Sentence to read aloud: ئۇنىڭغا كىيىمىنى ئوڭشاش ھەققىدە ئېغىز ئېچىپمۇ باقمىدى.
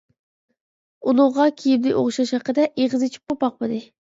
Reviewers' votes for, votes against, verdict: 0, 2, rejected